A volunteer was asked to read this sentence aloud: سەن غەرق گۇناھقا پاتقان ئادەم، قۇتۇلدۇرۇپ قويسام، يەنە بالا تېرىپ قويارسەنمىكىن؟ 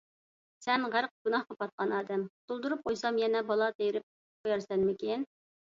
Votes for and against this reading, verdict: 2, 0, accepted